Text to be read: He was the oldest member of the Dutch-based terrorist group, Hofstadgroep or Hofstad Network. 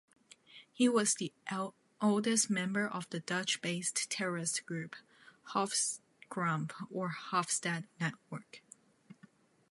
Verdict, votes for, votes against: rejected, 1, 2